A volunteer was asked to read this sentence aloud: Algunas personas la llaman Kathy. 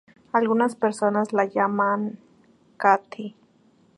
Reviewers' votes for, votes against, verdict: 2, 0, accepted